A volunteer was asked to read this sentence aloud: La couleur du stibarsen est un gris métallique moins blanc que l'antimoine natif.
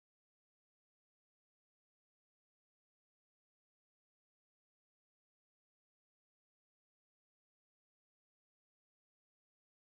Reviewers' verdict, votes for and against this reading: rejected, 0, 2